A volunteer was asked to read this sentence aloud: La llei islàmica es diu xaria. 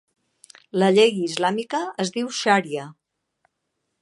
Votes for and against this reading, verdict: 2, 0, accepted